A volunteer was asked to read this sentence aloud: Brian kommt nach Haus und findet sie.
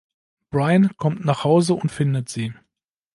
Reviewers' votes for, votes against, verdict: 0, 2, rejected